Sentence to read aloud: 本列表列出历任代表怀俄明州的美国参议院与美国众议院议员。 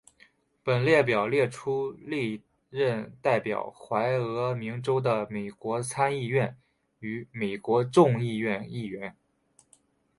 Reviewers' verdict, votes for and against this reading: accepted, 4, 0